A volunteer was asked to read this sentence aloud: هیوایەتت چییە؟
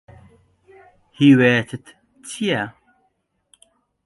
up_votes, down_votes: 2, 0